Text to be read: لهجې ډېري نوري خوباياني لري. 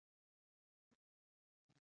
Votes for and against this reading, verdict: 0, 2, rejected